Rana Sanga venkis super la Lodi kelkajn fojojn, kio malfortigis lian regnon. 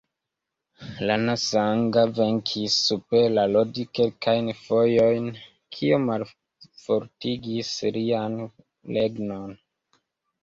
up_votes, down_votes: 2, 0